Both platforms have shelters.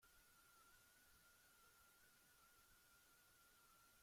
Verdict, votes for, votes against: rejected, 0, 2